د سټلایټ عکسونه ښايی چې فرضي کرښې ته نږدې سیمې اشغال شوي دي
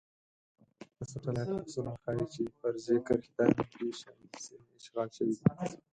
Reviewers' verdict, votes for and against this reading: rejected, 2, 4